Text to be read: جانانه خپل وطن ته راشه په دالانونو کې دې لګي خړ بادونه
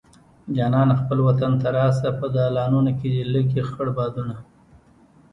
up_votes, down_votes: 2, 0